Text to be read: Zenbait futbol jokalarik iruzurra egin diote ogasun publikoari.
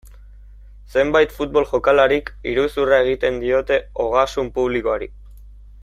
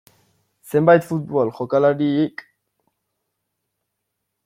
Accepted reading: first